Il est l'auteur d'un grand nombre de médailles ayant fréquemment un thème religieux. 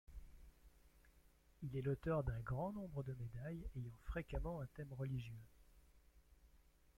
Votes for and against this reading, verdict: 0, 2, rejected